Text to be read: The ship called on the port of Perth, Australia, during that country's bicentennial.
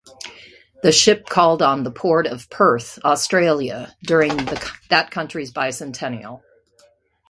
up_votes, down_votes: 0, 2